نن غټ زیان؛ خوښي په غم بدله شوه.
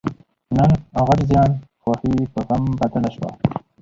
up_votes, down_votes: 2, 2